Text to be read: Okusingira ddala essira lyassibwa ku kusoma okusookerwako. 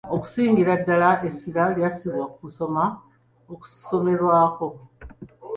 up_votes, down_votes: 1, 2